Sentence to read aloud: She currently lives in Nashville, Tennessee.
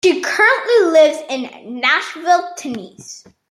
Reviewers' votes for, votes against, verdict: 1, 2, rejected